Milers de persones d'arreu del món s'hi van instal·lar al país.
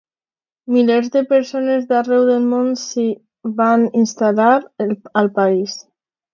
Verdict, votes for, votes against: rejected, 1, 2